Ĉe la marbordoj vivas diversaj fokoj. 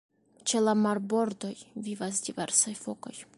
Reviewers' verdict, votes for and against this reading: accepted, 2, 1